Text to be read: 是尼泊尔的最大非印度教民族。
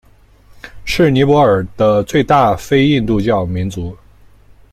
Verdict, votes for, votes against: accepted, 2, 1